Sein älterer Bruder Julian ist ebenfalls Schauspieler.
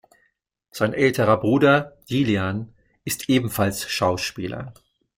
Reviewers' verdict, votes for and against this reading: rejected, 1, 2